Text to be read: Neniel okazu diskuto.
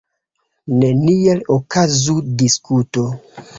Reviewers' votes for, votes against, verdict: 2, 0, accepted